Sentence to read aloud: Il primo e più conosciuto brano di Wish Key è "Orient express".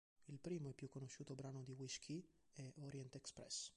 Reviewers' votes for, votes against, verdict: 2, 0, accepted